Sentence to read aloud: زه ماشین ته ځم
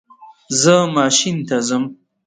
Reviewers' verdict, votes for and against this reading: rejected, 1, 2